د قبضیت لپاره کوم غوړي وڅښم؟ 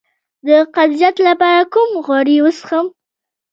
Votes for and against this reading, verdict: 1, 2, rejected